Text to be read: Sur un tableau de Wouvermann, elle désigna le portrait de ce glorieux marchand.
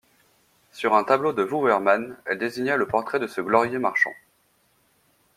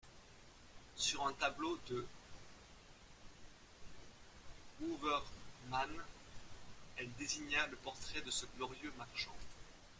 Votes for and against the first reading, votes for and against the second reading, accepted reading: 2, 0, 0, 2, first